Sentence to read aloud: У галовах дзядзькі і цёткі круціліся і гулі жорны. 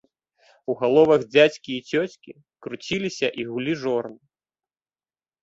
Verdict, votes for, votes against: rejected, 0, 2